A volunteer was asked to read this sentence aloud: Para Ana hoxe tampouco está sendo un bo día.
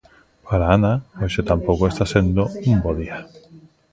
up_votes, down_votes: 2, 0